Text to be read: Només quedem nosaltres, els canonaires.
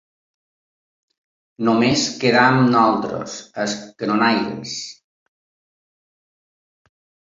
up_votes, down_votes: 1, 4